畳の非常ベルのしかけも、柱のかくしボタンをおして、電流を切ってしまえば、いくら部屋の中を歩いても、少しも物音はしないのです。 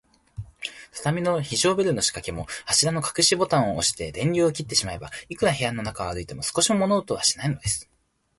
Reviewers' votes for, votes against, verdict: 4, 2, accepted